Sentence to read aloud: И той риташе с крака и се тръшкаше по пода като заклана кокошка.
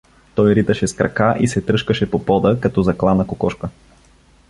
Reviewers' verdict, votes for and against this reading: rejected, 1, 2